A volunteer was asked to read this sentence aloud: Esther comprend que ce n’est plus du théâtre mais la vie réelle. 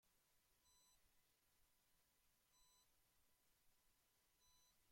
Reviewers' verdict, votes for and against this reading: rejected, 0, 2